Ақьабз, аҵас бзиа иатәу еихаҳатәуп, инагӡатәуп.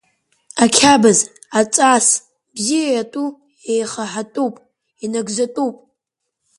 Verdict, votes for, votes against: accepted, 3, 0